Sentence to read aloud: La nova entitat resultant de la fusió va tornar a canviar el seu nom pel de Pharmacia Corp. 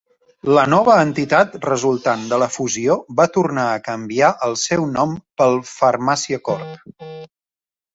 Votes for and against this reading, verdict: 0, 2, rejected